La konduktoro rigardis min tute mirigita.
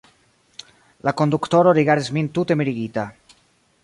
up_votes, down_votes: 0, 2